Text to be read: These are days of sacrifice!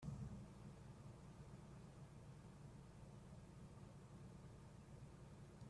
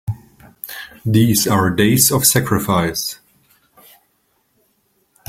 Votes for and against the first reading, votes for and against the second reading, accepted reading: 0, 2, 2, 0, second